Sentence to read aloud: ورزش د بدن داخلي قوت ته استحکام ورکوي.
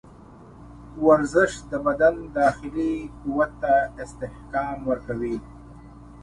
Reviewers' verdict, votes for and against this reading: accepted, 2, 1